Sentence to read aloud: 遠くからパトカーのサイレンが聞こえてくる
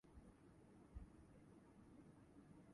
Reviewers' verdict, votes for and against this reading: rejected, 0, 2